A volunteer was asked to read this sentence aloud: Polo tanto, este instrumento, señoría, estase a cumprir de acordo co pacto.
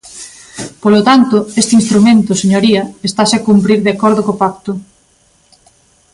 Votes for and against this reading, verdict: 3, 0, accepted